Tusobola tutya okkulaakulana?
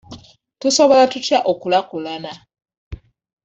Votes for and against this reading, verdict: 0, 2, rejected